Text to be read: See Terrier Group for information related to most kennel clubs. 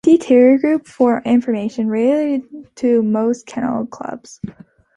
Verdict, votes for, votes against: rejected, 0, 2